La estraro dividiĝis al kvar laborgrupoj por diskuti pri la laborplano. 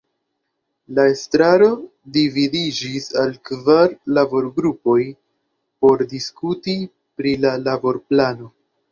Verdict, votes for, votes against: accepted, 2, 0